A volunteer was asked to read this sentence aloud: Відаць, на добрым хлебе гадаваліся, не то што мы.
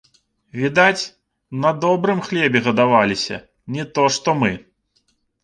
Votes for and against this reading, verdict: 2, 0, accepted